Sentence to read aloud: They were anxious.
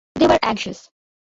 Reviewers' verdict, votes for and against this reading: rejected, 0, 2